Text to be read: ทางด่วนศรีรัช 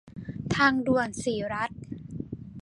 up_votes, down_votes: 2, 0